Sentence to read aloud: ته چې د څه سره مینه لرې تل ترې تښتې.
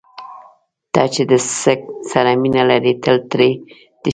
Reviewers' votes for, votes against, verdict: 0, 2, rejected